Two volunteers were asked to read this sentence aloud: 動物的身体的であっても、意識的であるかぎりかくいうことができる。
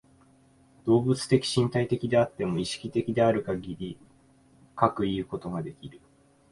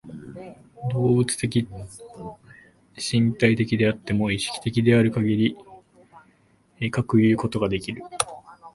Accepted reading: first